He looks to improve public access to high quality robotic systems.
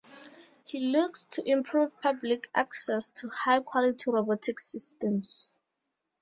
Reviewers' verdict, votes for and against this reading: accepted, 4, 0